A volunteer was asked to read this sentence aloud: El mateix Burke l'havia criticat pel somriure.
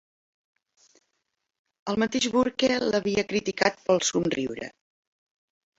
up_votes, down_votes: 0, 2